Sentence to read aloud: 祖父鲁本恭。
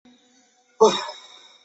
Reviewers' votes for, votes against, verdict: 0, 4, rejected